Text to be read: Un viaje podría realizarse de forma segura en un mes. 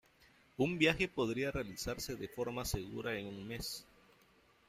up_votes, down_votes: 2, 0